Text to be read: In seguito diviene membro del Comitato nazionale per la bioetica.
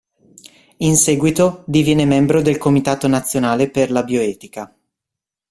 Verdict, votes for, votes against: accepted, 2, 0